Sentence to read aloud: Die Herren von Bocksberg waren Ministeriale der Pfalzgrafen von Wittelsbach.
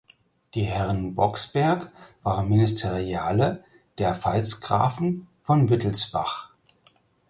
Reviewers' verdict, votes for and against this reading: rejected, 0, 4